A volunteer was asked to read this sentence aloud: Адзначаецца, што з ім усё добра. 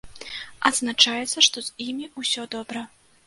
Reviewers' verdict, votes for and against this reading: rejected, 0, 2